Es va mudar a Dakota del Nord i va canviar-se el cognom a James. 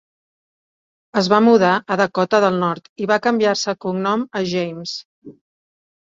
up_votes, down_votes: 2, 0